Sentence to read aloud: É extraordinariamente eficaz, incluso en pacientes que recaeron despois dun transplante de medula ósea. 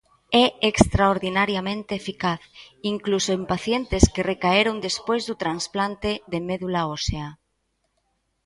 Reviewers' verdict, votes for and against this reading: rejected, 0, 2